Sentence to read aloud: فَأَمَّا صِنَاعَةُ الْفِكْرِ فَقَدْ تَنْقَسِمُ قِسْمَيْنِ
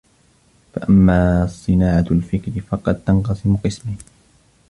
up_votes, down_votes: 1, 2